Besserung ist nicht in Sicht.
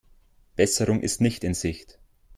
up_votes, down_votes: 2, 0